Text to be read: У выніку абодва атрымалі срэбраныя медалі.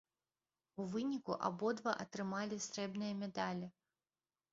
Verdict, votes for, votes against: rejected, 0, 2